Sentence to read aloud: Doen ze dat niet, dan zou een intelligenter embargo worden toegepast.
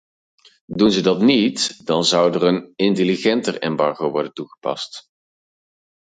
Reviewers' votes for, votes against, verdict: 2, 2, rejected